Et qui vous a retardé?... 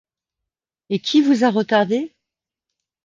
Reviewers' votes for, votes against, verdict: 2, 0, accepted